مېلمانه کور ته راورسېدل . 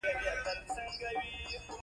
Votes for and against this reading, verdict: 1, 2, rejected